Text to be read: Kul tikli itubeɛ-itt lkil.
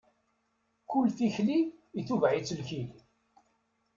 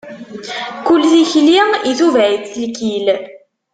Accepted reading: first